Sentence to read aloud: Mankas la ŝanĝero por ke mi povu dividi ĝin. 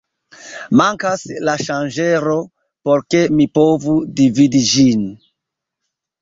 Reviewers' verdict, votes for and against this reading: accepted, 2, 0